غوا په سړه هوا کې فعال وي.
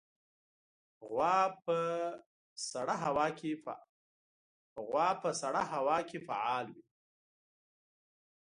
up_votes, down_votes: 0, 3